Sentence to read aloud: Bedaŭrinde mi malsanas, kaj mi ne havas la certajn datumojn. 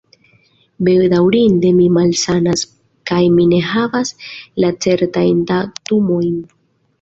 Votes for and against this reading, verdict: 3, 0, accepted